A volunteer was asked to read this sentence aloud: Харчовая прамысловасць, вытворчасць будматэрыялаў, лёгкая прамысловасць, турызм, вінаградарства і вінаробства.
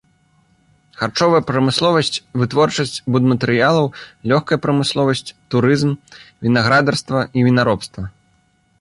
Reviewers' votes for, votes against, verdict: 2, 0, accepted